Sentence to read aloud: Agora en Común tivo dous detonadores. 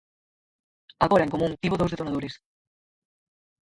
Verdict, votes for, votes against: rejected, 0, 4